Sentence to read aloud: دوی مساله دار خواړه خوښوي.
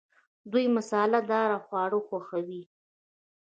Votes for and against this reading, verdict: 0, 2, rejected